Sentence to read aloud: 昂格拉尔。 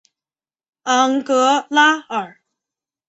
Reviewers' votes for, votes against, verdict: 3, 0, accepted